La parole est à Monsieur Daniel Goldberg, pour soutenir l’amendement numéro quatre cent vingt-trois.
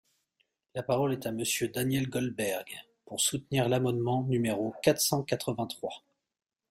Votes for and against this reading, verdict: 0, 2, rejected